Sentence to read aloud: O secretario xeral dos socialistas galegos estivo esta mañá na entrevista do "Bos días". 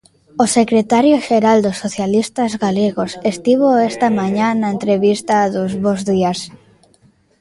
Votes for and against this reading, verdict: 0, 2, rejected